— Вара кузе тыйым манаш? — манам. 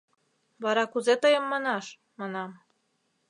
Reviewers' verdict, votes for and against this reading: accepted, 2, 0